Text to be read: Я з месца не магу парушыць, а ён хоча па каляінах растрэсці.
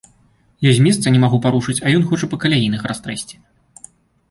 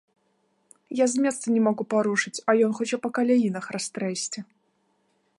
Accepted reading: first